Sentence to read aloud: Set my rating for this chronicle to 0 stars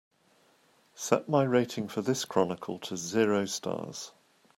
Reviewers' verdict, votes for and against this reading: rejected, 0, 2